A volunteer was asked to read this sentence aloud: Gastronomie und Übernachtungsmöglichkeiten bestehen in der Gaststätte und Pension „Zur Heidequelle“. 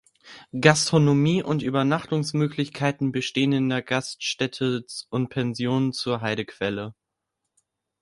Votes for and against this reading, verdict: 1, 2, rejected